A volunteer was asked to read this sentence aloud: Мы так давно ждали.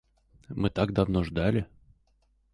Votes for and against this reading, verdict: 0, 4, rejected